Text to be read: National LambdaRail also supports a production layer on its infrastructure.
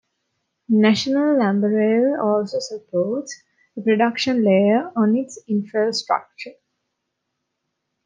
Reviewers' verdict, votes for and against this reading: accepted, 2, 0